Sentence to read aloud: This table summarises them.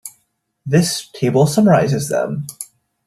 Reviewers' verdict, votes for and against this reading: accepted, 2, 0